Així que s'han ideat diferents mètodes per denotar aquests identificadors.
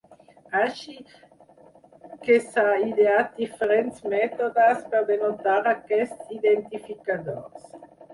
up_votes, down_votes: 0, 4